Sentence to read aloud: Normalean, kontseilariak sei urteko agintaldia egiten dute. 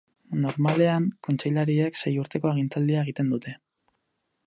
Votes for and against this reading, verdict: 0, 4, rejected